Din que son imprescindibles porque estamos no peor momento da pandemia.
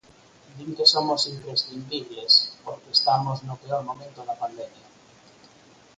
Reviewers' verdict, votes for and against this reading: rejected, 8, 18